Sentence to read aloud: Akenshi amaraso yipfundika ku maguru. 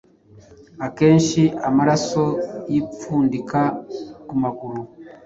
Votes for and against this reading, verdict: 2, 0, accepted